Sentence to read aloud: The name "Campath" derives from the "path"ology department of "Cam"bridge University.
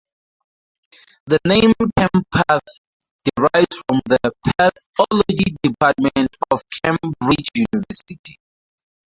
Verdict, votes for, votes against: rejected, 0, 4